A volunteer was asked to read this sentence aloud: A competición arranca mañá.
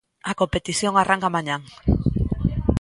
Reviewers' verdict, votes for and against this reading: rejected, 0, 2